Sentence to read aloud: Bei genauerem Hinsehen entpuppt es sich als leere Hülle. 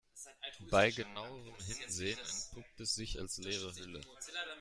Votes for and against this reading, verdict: 1, 2, rejected